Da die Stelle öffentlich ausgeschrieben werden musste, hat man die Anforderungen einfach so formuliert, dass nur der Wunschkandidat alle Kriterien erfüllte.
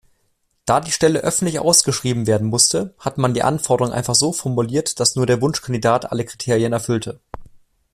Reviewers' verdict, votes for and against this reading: accepted, 2, 0